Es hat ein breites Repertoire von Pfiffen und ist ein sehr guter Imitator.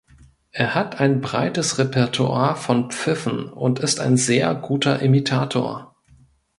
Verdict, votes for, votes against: rejected, 1, 2